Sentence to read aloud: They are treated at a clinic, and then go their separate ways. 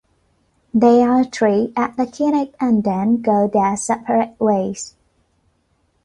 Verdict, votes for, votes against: accepted, 2, 1